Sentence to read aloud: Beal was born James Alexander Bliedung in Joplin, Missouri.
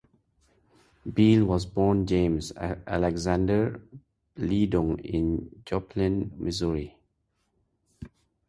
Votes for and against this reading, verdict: 0, 2, rejected